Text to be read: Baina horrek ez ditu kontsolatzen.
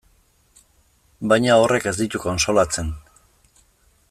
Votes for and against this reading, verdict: 2, 0, accepted